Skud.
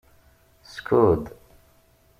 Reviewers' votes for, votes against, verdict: 2, 0, accepted